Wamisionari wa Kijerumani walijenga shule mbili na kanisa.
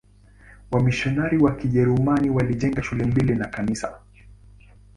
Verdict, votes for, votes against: accepted, 2, 0